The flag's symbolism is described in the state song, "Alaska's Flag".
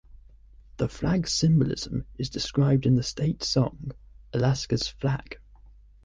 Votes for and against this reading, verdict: 2, 0, accepted